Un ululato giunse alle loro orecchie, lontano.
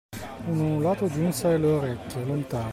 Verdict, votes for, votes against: rejected, 1, 2